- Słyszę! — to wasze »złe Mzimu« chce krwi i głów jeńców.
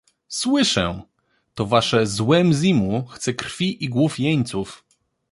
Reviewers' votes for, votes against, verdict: 2, 0, accepted